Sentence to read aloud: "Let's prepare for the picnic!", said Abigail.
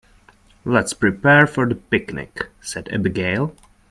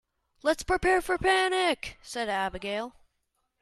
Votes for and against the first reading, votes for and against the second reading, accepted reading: 2, 0, 1, 2, first